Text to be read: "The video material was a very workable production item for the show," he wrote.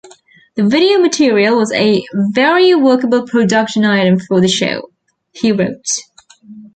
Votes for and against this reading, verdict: 2, 0, accepted